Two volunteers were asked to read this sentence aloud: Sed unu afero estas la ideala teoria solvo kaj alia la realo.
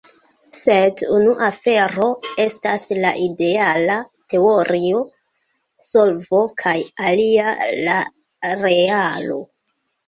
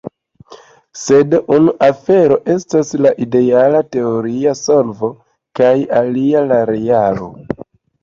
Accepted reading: second